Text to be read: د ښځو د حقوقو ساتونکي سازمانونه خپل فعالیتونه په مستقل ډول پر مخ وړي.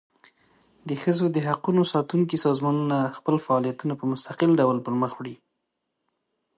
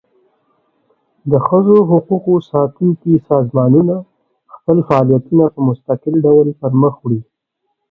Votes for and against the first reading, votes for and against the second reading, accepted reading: 2, 0, 1, 2, first